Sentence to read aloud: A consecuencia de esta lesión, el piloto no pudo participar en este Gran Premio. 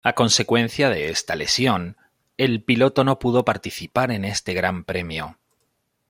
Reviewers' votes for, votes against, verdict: 2, 0, accepted